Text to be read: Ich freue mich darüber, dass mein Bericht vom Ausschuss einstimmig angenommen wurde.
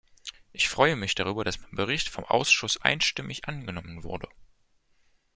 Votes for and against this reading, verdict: 1, 2, rejected